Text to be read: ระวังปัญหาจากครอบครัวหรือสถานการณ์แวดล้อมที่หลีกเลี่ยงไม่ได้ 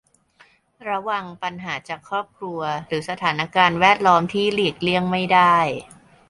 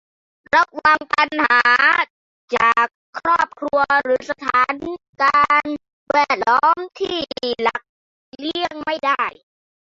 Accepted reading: first